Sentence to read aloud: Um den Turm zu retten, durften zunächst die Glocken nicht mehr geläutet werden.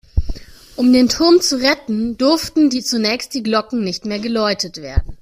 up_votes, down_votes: 0, 2